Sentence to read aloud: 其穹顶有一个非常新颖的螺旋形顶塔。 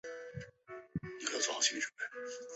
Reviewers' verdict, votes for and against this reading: rejected, 0, 4